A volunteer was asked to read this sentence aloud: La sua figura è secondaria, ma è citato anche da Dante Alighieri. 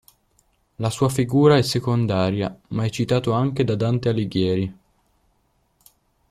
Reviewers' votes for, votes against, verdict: 1, 2, rejected